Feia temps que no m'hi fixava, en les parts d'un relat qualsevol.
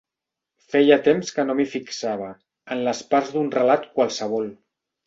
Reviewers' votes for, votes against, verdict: 2, 0, accepted